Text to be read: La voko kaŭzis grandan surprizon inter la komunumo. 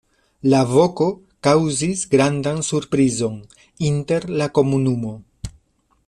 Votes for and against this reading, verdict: 2, 0, accepted